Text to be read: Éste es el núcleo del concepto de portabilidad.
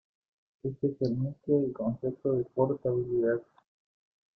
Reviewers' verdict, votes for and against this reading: rejected, 0, 2